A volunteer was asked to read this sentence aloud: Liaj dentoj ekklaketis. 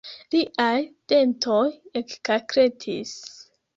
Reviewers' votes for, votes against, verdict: 1, 2, rejected